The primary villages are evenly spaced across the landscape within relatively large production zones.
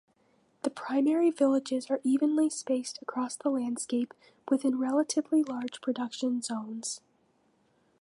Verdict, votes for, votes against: accepted, 2, 0